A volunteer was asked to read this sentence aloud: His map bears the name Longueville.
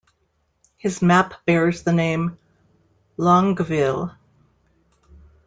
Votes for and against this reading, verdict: 1, 2, rejected